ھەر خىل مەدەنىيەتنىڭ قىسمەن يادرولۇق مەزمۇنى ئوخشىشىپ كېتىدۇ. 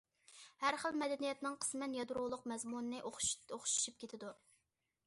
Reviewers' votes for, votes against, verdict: 0, 2, rejected